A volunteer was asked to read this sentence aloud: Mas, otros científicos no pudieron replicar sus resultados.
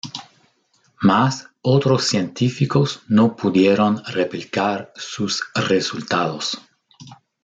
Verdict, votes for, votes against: accepted, 2, 0